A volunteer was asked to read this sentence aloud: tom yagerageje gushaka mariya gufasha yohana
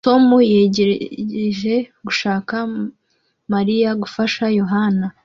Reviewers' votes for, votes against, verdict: 1, 2, rejected